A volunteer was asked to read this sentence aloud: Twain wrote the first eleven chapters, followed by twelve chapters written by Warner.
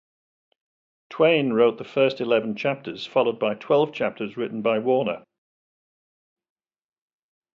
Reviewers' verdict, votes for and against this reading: accepted, 2, 0